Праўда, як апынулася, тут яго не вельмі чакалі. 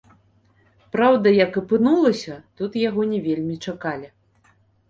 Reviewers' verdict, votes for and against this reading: accepted, 2, 0